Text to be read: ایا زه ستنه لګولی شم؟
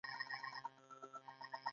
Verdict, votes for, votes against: rejected, 1, 2